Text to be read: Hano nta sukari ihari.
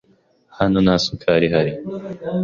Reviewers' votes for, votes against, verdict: 2, 0, accepted